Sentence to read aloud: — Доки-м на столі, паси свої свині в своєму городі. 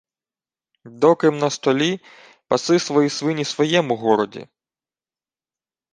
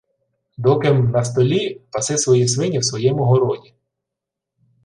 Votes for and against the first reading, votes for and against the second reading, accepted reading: 1, 2, 2, 0, second